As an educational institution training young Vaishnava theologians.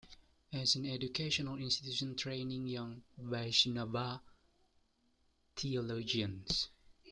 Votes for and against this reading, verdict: 1, 2, rejected